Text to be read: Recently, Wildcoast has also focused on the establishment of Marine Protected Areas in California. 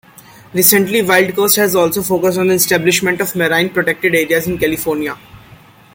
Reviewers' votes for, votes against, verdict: 1, 2, rejected